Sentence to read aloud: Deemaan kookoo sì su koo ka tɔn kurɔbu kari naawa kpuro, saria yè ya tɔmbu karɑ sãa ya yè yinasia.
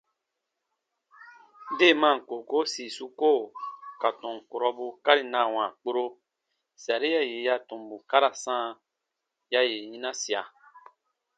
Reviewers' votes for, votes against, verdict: 2, 0, accepted